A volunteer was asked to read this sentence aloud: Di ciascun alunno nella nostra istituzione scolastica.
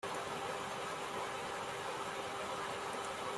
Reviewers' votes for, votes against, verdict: 0, 2, rejected